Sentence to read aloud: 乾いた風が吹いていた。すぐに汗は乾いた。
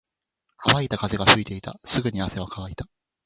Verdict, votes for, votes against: accepted, 2, 0